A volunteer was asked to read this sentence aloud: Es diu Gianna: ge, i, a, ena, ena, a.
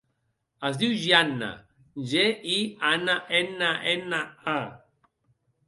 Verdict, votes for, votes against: accepted, 2, 1